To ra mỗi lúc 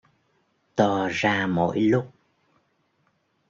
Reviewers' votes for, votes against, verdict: 2, 0, accepted